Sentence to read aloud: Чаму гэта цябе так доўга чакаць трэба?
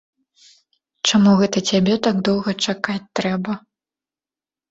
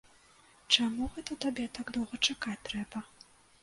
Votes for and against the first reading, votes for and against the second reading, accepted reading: 2, 0, 0, 2, first